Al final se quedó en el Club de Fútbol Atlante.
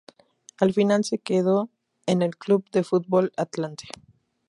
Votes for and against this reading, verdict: 2, 0, accepted